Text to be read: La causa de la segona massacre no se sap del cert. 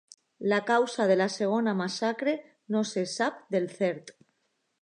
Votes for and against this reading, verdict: 2, 0, accepted